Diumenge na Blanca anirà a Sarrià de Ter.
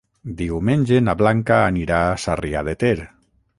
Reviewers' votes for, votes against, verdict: 6, 0, accepted